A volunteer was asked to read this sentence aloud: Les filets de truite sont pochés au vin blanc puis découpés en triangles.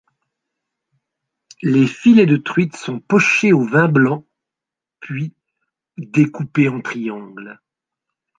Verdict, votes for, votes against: accepted, 2, 0